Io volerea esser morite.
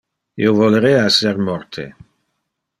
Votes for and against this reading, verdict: 0, 2, rejected